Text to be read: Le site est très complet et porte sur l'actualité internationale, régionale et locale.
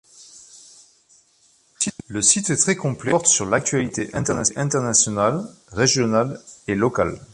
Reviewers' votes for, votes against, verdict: 0, 2, rejected